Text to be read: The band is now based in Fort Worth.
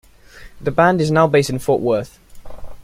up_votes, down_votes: 2, 0